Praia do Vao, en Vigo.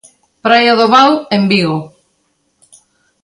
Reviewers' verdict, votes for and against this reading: accepted, 2, 0